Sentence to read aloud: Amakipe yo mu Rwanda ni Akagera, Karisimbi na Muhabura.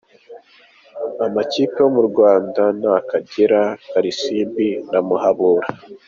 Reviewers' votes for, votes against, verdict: 2, 1, accepted